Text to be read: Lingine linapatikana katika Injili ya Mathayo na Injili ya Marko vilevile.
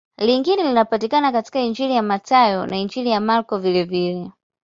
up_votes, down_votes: 2, 0